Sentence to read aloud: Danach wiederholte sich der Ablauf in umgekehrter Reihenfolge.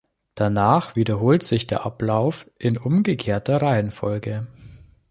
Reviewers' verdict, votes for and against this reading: rejected, 1, 3